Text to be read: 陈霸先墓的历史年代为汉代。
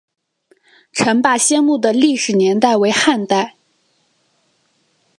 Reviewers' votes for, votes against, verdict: 3, 1, accepted